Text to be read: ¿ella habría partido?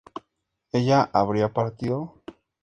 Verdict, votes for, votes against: accepted, 2, 0